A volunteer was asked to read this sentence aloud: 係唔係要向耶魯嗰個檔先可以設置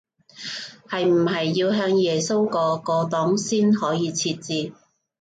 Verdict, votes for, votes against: rejected, 1, 3